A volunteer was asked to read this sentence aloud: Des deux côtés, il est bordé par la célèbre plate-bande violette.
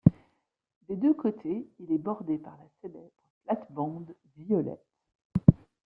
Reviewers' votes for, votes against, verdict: 0, 2, rejected